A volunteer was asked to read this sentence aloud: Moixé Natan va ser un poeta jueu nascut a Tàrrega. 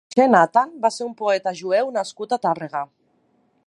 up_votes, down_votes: 2, 4